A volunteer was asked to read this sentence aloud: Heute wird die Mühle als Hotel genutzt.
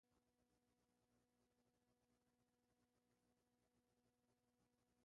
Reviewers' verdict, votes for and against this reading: rejected, 0, 2